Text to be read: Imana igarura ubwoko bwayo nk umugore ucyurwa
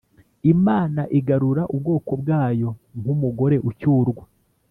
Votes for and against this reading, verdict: 2, 0, accepted